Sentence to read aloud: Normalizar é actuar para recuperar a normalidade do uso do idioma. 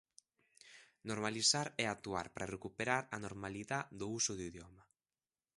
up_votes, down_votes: 0, 2